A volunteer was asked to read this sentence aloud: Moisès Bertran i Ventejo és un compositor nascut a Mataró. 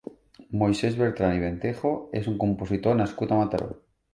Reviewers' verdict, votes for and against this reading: accepted, 2, 0